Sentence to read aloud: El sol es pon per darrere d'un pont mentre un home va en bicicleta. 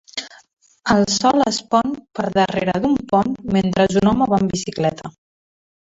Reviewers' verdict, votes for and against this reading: rejected, 1, 2